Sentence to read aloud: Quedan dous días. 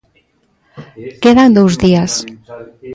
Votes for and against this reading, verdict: 1, 2, rejected